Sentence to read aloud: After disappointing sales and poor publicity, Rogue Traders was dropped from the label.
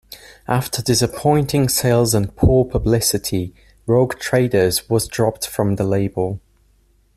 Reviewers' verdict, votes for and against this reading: accepted, 2, 0